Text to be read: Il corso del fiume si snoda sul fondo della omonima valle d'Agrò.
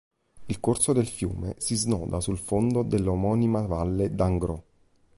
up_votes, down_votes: 0, 2